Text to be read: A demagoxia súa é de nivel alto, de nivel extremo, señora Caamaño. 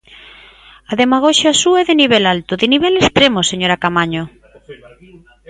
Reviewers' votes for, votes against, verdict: 1, 2, rejected